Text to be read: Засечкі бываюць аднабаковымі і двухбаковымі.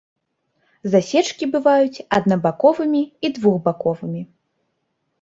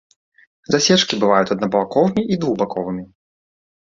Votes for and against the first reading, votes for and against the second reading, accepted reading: 3, 0, 1, 2, first